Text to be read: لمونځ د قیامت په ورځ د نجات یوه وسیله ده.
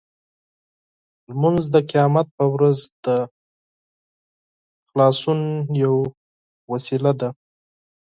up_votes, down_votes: 2, 6